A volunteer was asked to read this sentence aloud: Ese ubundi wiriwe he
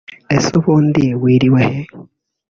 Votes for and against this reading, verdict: 2, 0, accepted